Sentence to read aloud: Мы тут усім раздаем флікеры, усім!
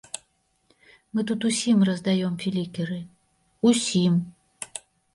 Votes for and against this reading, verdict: 1, 2, rejected